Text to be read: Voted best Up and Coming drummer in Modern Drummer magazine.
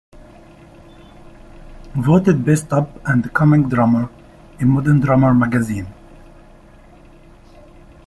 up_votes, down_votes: 2, 0